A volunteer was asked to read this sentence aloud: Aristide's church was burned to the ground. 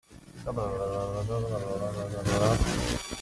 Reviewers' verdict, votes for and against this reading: rejected, 0, 2